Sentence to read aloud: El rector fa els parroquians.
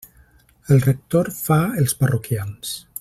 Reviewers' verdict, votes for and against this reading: accepted, 3, 0